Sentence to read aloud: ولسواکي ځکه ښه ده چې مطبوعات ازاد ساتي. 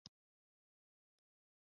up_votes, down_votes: 1, 2